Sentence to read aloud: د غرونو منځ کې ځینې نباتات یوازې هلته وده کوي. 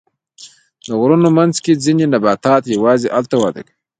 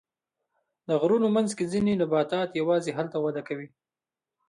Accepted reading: second